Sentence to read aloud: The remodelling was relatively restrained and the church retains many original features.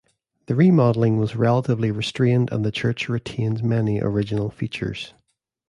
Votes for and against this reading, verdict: 2, 0, accepted